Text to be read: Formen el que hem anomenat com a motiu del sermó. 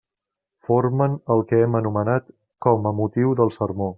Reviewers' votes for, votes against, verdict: 3, 0, accepted